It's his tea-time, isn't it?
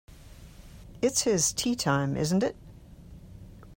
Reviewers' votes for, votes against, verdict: 2, 0, accepted